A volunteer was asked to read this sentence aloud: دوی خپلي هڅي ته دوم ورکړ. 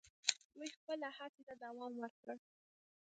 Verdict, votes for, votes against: rejected, 1, 2